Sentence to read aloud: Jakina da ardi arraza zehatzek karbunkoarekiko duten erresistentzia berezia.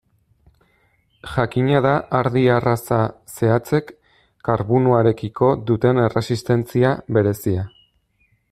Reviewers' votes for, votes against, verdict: 0, 2, rejected